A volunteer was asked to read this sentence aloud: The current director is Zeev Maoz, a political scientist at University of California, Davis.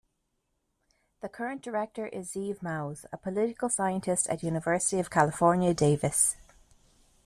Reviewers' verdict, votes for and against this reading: accepted, 2, 0